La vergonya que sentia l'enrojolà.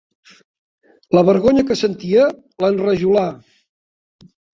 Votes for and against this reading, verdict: 0, 2, rejected